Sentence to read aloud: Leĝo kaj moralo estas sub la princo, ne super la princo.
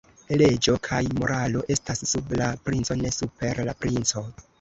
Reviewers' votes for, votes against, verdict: 0, 2, rejected